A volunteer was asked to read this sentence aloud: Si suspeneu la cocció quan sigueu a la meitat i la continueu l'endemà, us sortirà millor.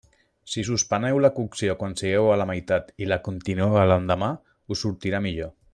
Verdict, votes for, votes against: rejected, 1, 2